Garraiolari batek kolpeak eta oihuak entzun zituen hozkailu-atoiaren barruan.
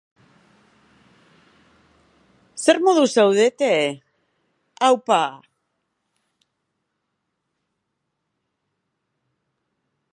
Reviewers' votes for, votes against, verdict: 0, 4, rejected